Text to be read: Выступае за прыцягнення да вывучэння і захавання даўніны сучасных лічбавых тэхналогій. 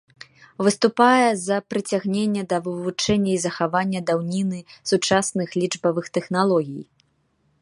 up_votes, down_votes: 0, 2